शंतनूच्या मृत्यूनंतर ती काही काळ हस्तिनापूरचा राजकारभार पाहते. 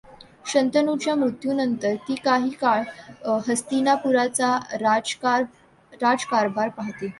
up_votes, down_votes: 1, 2